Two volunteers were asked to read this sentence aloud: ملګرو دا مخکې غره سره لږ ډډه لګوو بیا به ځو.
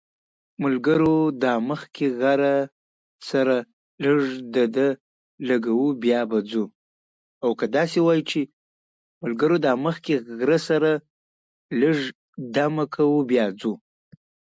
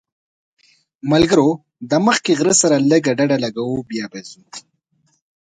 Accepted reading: second